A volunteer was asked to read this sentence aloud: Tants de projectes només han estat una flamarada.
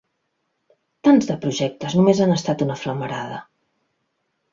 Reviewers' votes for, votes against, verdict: 4, 0, accepted